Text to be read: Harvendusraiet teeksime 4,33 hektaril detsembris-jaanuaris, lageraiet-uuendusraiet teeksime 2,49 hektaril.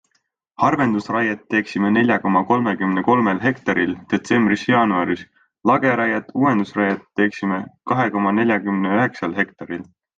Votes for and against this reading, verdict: 0, 2, rejected